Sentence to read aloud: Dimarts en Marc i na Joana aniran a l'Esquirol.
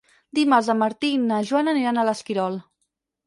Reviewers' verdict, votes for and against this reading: rejected, 0, 4